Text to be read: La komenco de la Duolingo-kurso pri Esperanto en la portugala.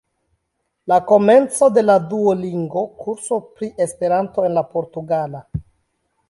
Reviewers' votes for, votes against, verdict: 0, 2, rejected